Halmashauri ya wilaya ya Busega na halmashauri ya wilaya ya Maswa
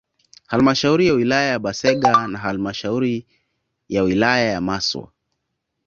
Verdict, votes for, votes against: accepted, 2, 0